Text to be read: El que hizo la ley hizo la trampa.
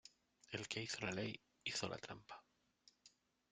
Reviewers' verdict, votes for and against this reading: rejected, 1, 2